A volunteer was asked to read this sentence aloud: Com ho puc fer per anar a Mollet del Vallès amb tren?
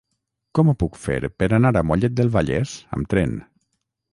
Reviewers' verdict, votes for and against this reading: accepted, 6, 0